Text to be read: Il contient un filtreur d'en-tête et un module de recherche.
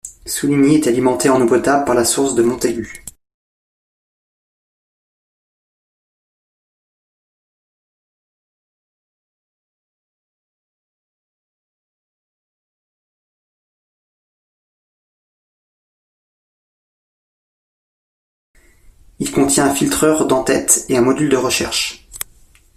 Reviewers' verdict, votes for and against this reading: rejected, 0, 2